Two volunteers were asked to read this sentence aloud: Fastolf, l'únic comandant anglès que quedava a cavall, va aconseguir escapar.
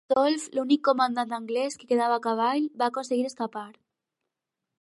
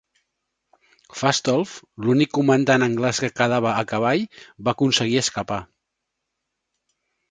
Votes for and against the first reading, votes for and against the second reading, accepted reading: 0, 4, 2, 0, second